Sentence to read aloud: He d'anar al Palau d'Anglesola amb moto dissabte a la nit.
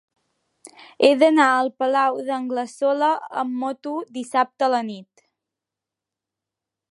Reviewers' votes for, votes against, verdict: 3, 0, accepted